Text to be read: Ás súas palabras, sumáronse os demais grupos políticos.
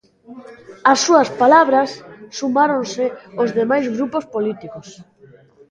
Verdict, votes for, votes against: accepted, 2, 0